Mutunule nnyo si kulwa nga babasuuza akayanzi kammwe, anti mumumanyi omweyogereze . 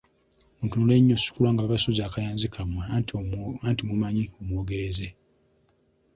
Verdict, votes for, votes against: rejected, 0, 2